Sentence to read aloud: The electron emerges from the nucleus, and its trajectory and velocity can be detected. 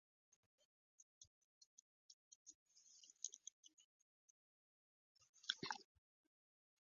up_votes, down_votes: 0, 2